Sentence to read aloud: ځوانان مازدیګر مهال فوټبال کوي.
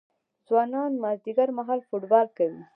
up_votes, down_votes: 1, 2